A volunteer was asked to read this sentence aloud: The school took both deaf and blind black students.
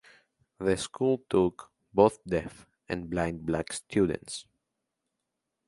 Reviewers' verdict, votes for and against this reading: accepted, 2, 0